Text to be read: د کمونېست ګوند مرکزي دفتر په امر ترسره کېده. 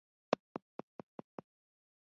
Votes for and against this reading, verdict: 0, 2, rejected